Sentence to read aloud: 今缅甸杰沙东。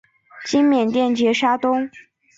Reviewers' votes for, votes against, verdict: 2, 0, accepted